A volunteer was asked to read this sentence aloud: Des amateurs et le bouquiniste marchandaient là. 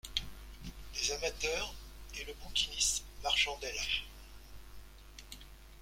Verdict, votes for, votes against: accepted, 2, 0